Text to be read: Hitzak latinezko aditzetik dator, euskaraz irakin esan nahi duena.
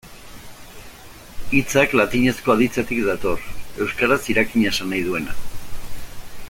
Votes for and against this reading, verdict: 0, 2, rejected